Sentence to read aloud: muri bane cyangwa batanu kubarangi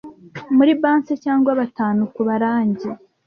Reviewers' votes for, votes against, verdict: 1, 2, rejected